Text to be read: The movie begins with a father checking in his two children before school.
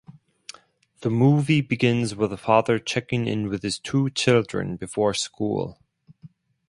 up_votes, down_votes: 0, 4